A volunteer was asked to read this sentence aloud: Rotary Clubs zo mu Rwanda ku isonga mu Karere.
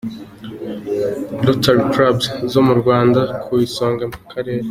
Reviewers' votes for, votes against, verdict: 2, 0, accepted